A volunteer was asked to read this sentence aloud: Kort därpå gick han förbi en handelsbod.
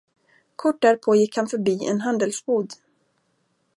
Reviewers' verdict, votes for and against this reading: accepted, 2, 0